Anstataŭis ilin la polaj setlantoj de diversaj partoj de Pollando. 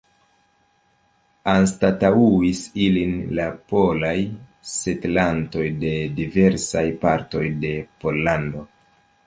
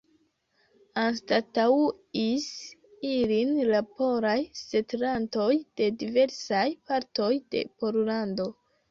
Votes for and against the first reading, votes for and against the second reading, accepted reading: 2, 0, 0, 2, first